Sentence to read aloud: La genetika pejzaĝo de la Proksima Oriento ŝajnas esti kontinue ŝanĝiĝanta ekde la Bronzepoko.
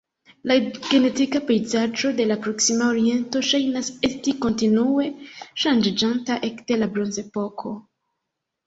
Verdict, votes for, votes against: rejected, 1, 2